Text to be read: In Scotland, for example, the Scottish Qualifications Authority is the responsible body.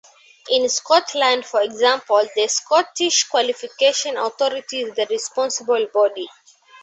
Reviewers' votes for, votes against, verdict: 0, 2, rejected